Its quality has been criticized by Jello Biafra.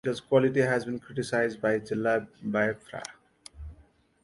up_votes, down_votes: 0, 2